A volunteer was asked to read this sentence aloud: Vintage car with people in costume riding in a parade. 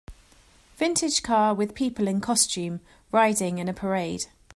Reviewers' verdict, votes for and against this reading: accepted, 2, 0